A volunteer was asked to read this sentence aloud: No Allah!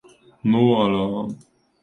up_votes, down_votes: 2, 1